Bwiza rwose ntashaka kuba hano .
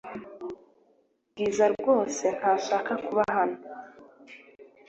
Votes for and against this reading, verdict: 2, 0, accepted